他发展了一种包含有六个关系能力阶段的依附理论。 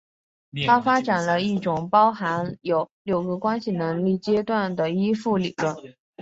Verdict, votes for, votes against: accepted, 3, 0